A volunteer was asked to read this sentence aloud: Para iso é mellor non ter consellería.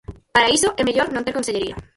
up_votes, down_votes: 0, 4